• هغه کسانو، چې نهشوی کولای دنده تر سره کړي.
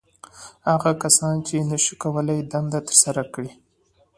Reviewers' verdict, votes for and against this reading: accepted, 2, 0